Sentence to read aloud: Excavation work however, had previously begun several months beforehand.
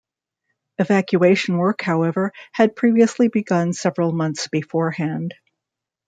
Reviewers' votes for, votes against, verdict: 2, 1, accepted